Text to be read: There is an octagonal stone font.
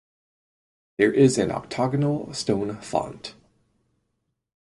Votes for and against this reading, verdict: 4, 0, accepted